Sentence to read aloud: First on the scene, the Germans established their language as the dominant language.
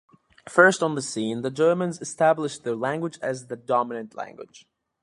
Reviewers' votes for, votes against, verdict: 2, 0, accepted